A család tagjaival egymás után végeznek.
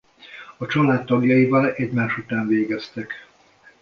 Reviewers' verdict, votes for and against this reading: rejected, 0, 2